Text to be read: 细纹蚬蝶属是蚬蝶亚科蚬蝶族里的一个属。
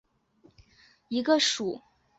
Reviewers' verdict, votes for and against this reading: rejected, 2, 6